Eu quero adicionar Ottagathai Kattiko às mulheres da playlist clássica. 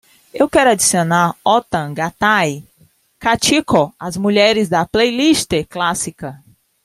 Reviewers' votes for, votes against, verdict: 2, 0, accepted